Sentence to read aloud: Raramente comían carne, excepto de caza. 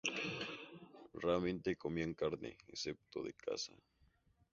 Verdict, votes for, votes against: accepted, 2, 0